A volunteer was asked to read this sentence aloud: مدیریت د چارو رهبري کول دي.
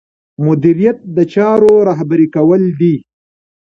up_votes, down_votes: 2, 0